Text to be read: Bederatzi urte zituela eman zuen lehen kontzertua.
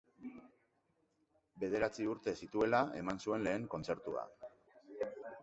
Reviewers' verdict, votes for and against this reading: accepted, 3, 0